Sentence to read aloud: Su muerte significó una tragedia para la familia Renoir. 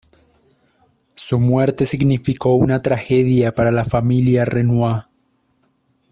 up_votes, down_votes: 2, 0